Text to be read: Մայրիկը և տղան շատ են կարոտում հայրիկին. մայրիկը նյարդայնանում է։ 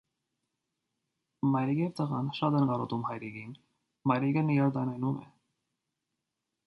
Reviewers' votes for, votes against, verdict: 1, 2, rejected